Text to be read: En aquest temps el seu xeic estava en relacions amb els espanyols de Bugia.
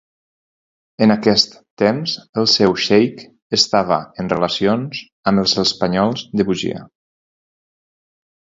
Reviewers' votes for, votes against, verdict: 2, 2, rejected